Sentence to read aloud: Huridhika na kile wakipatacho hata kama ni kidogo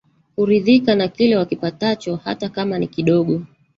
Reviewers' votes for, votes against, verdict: 1, 2, rejected